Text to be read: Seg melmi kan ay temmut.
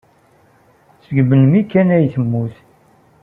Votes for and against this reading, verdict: 2, 0, accepted